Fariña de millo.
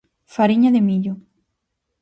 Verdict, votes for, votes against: accepted, 4, 0